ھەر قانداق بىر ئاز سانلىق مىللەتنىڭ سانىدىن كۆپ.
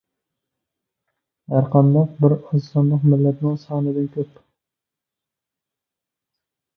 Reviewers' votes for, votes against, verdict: 2, 1, accepted